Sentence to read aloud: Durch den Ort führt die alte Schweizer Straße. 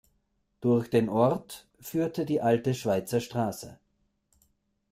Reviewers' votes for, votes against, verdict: 0, 2, rejected